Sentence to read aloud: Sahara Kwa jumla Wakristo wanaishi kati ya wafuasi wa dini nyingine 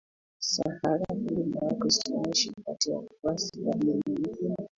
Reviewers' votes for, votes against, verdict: 0, 2, rejected